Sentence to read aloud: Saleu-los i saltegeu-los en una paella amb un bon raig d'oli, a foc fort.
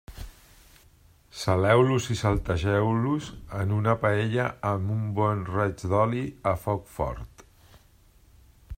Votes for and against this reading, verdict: 3, 0, accepted